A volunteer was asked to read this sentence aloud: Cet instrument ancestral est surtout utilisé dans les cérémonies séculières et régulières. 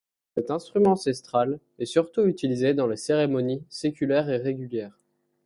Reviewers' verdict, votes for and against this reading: rejected, 1, 2